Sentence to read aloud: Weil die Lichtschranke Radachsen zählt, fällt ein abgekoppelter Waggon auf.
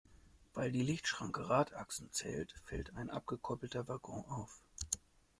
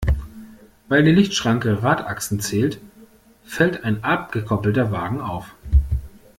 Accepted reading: first